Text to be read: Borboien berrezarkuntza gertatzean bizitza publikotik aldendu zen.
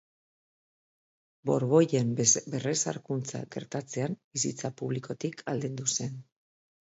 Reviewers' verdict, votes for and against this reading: rejected, 1, 2